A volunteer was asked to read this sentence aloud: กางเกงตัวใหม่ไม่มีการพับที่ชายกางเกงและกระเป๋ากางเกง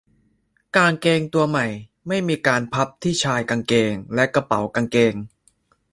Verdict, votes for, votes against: accepted, 2, 0